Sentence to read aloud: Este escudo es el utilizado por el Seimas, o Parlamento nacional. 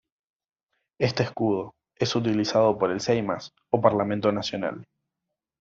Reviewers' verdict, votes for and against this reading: rejected, 1, 2